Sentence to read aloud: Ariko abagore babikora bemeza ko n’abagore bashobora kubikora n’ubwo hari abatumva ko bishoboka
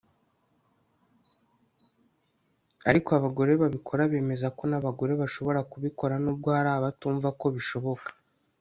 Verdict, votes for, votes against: accepted, 2, 0